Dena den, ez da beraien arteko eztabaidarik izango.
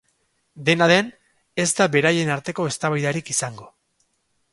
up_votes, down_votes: 2, 0